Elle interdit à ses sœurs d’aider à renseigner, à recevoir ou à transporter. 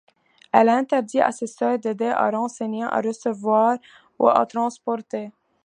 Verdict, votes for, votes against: accepted, 3, 0